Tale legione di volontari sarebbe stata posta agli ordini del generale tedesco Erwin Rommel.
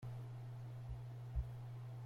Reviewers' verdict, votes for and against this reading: rejected, 0, 2